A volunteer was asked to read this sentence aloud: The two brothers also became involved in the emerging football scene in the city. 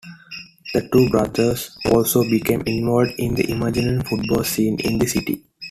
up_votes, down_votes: 1, 2